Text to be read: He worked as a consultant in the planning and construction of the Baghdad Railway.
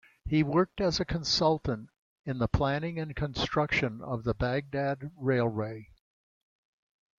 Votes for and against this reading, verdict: 2, 0, accepted